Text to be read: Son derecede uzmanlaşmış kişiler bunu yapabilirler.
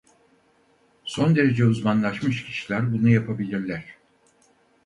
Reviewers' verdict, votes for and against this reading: rejected, 0, 4